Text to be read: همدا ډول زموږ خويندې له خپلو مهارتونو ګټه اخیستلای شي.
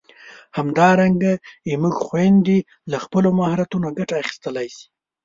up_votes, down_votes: 1, 2